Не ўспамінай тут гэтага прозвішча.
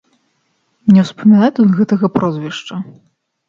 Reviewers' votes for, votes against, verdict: 2, 0, accepted